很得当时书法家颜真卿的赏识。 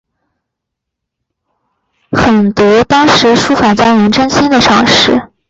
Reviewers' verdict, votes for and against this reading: accepted, 4, 0